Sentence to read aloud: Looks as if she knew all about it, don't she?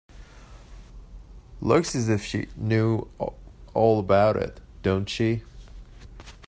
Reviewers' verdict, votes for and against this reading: rejected, 1, 2